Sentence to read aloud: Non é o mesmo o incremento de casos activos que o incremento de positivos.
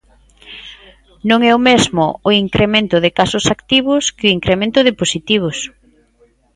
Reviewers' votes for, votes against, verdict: 2, 0, accepted